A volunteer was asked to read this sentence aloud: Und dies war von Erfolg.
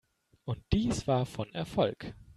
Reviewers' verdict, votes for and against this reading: accepted, 2, 0